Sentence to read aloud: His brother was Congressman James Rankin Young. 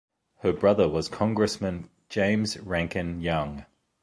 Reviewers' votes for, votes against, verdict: 0, 2, rejected